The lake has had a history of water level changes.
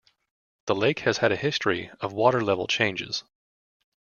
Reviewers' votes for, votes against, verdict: 2, 0, accepted